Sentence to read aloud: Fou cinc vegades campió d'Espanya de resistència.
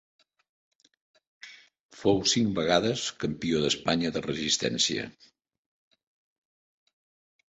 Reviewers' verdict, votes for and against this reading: accepted, 4, 0